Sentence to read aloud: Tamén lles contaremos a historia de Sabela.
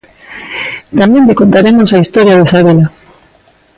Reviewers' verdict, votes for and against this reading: rejected, 0, 2